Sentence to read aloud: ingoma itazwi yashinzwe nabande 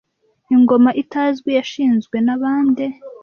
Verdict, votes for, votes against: accepted, 2, 0